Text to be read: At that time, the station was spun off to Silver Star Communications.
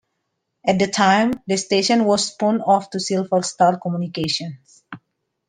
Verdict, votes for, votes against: rejected, 0, 2